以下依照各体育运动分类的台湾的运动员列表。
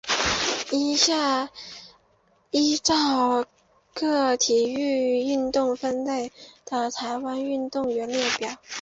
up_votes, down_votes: 6, 2